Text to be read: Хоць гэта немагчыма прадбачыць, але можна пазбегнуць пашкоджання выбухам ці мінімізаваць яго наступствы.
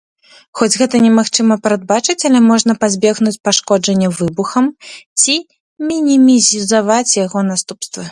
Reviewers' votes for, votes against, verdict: 0, 2, rejected